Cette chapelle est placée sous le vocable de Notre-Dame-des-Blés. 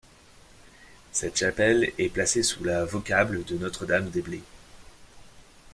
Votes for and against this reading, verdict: 1, 2, rejected